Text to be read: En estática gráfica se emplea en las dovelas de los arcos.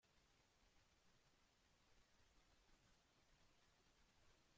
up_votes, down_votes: 0, 2